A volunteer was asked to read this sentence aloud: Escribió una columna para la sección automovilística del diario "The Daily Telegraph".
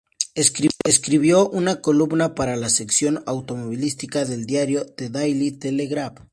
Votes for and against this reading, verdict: 0, 2, rejected